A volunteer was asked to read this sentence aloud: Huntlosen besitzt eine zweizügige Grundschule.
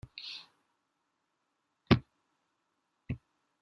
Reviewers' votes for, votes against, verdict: 0, 2, rejected